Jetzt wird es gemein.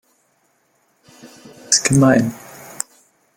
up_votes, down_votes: 0, 2